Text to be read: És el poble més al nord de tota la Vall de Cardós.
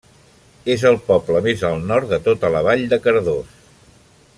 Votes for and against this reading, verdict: 2, 0, accepted